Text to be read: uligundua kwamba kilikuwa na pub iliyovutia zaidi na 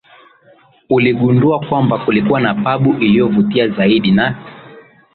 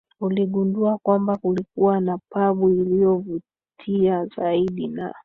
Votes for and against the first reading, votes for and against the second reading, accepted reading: 7, 4, 1, 3, first